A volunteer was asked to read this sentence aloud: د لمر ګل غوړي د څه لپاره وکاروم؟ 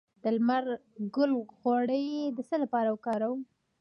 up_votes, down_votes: 1, 2